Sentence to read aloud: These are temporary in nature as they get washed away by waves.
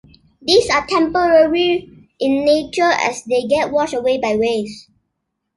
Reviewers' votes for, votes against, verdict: 2, 0, accepted